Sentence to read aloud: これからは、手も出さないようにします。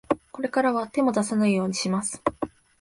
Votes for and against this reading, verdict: 2, 0, accepted